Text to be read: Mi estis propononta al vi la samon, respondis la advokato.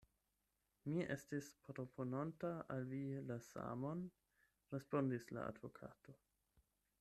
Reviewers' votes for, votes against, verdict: 8, 0, accepted